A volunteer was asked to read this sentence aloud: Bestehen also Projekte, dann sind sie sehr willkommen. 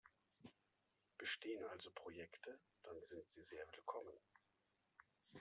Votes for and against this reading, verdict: 2, 0, accepted